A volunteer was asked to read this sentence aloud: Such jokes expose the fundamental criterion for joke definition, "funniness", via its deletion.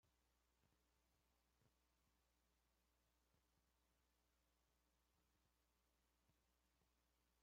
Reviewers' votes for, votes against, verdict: 0, 2, rejected